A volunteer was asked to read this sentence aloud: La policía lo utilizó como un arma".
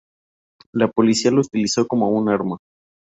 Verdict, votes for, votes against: accepted, 2, 0